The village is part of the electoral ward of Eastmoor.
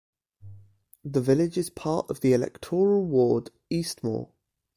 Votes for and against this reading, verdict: 1, 2, rejected